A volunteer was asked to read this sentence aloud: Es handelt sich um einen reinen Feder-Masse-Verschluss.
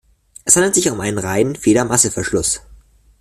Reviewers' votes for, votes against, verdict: 2, 0, accepted